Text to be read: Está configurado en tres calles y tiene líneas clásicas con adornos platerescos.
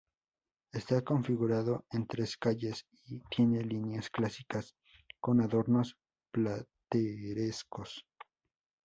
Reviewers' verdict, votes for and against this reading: rejected, 0, 2